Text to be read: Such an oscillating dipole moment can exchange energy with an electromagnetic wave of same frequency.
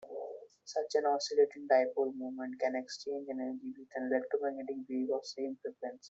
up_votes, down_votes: 1, 2